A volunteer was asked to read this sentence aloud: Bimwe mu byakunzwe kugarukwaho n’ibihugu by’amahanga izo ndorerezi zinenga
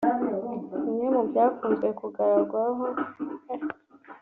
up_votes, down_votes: 0, 2